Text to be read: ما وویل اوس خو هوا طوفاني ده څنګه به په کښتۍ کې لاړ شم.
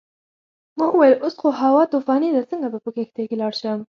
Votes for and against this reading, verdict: 4, 0, accepted